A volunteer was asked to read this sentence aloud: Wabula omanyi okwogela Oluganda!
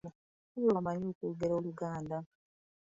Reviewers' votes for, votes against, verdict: 0, 2, rejected